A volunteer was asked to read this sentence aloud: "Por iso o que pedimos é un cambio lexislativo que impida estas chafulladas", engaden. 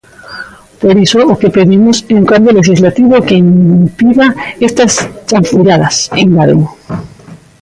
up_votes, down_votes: 0, 2